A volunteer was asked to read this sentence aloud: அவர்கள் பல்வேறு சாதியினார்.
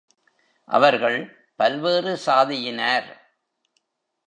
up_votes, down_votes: 1, 2